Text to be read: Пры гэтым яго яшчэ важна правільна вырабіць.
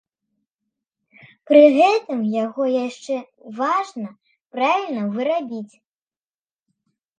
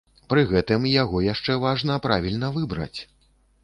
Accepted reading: first